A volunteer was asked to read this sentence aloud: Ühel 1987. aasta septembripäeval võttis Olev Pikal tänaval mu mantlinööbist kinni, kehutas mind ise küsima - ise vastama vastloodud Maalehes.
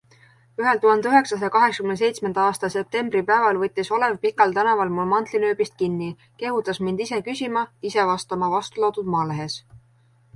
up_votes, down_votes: 0, 2